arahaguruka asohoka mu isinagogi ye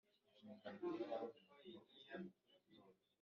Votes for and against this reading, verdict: 1, 2, rejected